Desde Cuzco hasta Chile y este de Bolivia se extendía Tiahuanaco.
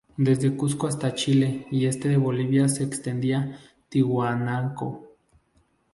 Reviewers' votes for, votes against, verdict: 0, 2, rejected